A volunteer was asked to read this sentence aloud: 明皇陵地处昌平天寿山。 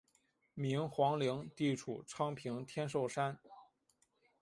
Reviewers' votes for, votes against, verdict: 1, 2, rejected